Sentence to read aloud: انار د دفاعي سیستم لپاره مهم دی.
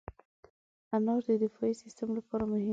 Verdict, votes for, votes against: rejected, 1, 2